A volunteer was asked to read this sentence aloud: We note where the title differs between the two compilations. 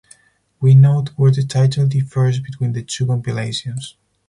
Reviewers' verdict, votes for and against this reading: accepted, 4, 0